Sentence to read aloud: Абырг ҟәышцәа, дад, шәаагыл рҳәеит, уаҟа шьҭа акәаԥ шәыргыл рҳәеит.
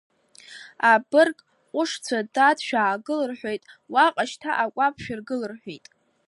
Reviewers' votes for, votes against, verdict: 2, 0, accepted